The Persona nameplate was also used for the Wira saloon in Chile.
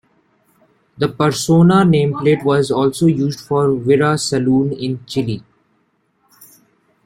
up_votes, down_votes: 2, 0